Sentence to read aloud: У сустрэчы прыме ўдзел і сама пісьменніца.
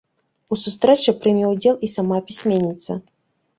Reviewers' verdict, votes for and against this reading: accepted, 2, 0